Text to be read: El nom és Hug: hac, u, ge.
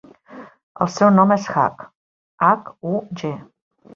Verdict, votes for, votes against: rejected, 1, 2